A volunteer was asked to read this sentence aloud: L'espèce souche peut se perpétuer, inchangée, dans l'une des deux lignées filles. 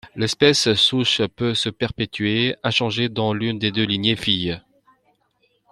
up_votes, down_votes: 2, 1